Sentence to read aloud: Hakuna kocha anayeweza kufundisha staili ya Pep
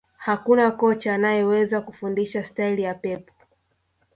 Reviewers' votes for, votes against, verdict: 3, 0, accepted